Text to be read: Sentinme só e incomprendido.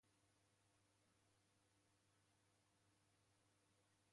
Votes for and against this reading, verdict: 0, 2, rejected